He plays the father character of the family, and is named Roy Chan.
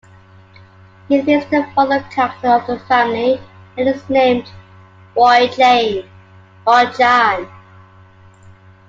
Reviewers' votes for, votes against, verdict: 0, 2, rejected